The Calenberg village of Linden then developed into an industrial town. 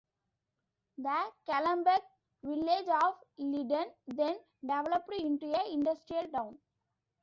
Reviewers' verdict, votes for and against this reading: rejected, 0, 2